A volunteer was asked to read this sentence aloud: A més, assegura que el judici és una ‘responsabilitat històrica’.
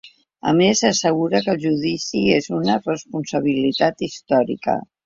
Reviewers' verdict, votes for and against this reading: accepted, 2, 1